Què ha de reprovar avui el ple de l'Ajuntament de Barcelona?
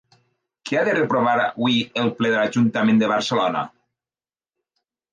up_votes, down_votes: 2, 0